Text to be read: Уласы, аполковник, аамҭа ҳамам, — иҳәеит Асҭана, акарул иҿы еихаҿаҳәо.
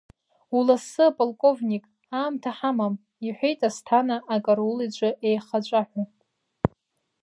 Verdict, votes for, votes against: rejected, 1, 2